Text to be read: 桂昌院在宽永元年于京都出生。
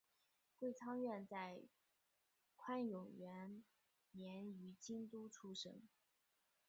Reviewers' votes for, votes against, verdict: 2, 0, accepted